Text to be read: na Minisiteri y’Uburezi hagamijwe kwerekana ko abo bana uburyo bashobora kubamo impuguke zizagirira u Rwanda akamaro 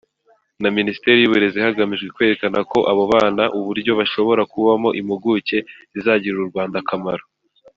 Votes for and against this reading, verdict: 2, 0, accepted